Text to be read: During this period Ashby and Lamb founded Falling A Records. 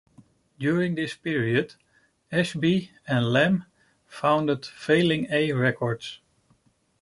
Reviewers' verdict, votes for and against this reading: rejected, 1, 2